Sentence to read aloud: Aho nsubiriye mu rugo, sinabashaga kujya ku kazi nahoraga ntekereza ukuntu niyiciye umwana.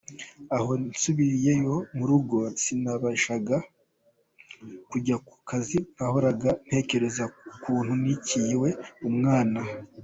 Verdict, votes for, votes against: rejected, 0, 2